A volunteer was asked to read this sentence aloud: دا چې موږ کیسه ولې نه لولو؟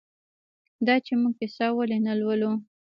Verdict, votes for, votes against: rejected, 1, 2